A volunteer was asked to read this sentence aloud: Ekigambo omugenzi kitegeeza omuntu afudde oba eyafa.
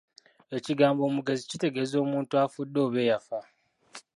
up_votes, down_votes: 1, 2